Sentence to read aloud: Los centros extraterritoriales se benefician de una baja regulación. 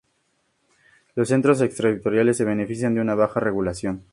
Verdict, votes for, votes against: accepted, 4, 0